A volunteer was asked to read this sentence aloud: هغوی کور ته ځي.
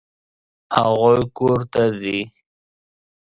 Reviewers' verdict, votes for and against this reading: accepted, 2, 0